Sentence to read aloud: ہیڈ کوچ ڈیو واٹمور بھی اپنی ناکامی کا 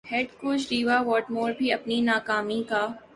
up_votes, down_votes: 3, 1